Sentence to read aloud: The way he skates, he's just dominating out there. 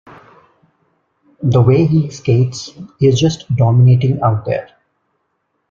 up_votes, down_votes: 2, 1